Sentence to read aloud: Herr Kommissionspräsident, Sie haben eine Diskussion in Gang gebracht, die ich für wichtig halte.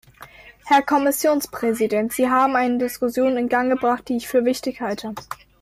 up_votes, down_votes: 2, 0